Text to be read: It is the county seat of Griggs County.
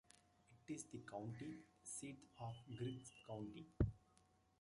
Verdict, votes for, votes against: rejected, 0, 2